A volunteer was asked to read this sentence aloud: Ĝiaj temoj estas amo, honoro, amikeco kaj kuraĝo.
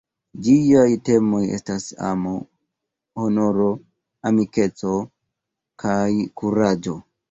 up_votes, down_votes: 2, 1